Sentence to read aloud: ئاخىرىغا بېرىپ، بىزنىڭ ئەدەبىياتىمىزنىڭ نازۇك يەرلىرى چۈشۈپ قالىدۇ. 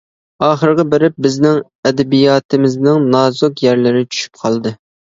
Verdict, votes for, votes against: rejected, 0, 2